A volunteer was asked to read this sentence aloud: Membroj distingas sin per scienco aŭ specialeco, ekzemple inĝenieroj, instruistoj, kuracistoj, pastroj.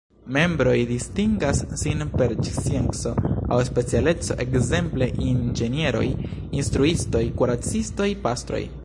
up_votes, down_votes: 2, 3